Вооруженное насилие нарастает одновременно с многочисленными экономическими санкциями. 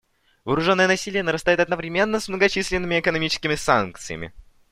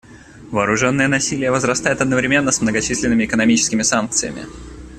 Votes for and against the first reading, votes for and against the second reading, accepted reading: 2, 0, 0, 2, first